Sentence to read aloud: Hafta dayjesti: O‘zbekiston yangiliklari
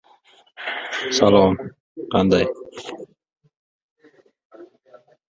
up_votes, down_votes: 0, 2